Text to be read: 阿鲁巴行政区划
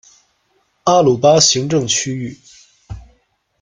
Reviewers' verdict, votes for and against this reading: rejected, 0, 2